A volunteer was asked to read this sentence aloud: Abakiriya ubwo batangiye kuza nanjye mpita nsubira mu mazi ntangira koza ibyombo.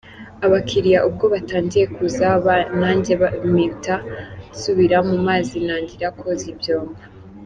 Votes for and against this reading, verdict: 2, 1, accepted